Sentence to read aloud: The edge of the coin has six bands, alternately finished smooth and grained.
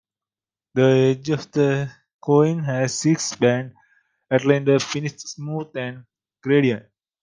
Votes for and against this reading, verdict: 0, 2, rejected